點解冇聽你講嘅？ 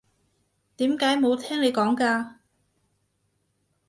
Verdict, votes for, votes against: rejected, 0, 2